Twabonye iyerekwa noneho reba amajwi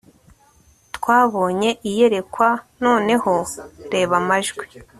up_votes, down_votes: 2, 0